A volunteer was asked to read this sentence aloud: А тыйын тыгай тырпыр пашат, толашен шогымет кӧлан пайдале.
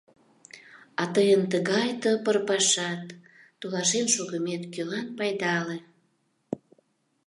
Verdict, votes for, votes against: rejected, 0, 2